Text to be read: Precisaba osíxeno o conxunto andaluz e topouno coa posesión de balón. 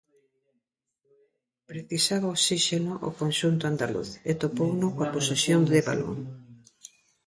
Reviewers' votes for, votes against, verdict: 1, 2, rejected